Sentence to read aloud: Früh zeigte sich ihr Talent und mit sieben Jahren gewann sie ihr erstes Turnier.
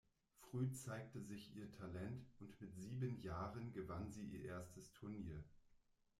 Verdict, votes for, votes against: accepted, 2, 0